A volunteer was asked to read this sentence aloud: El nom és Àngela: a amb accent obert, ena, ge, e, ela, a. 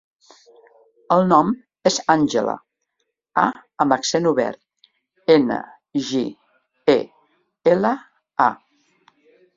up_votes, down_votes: 1, 2